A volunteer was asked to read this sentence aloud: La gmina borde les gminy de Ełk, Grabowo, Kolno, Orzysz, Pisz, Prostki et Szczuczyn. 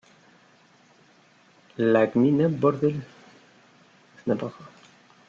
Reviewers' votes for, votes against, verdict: 0, 2, rejected